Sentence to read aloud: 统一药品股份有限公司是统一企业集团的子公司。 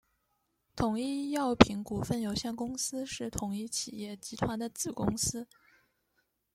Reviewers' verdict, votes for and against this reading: accepted, 2, 1